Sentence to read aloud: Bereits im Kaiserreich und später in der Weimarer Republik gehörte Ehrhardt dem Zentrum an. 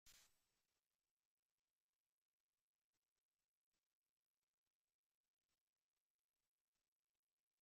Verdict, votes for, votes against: rejected, 0, 2